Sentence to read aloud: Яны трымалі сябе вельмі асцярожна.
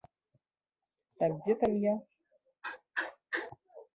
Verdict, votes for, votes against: rejected, 0, 2